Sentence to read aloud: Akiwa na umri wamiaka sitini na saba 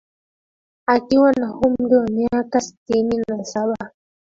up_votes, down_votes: 2, 0